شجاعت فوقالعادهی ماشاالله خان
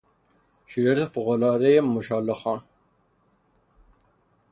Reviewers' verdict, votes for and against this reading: rejected, 0, 3